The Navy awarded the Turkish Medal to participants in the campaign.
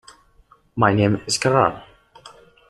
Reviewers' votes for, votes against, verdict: 0, 2, rejected